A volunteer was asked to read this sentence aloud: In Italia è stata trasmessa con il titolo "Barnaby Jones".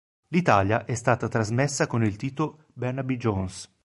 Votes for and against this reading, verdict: 0, 2, rejected